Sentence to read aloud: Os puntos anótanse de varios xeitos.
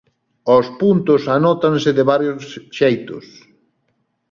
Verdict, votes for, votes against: rejected, 1, 2